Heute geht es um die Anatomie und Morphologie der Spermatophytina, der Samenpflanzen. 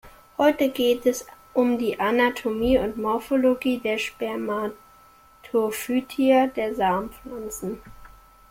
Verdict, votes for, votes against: rejected, 0, 2